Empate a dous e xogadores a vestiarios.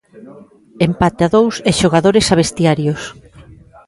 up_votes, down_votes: 0, 2